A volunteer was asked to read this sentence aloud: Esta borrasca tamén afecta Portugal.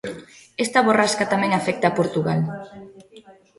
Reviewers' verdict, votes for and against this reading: accepted, 2, 0